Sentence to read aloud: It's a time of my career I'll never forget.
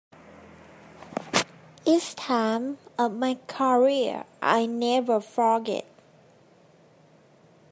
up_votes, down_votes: 0, 2